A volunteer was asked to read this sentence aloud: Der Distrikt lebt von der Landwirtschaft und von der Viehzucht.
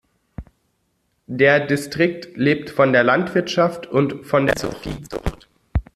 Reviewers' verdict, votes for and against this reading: rejected, 0, 2